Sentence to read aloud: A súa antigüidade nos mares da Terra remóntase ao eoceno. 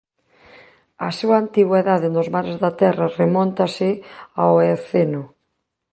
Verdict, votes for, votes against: rejected, 0, 2